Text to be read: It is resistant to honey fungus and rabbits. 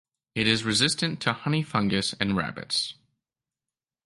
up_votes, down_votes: 2, 0